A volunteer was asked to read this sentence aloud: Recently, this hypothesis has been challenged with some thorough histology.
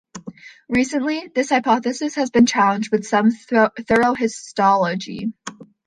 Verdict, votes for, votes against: rejected, 1, 2